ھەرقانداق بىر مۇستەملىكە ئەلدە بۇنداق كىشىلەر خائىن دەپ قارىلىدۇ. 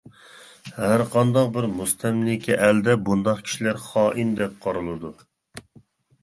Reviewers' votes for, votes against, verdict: 2, 0, accepted